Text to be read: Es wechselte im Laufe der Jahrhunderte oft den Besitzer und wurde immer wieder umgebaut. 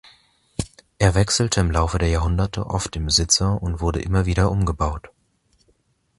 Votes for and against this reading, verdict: 2, 1, accepted